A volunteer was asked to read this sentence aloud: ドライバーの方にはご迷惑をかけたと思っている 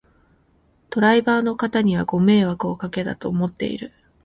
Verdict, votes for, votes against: accepted, 2, 0